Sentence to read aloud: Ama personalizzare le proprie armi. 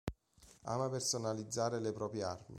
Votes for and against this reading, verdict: 2, 0, accepted